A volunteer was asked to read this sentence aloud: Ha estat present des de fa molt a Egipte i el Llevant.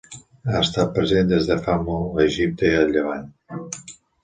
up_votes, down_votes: 2, 0